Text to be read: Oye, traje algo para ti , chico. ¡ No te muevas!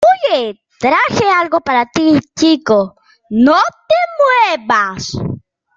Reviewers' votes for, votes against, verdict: 2, 0, accepted